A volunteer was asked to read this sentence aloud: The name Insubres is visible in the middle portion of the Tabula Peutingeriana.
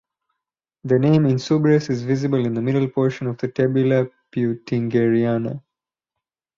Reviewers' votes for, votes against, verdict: 2, 2, rejected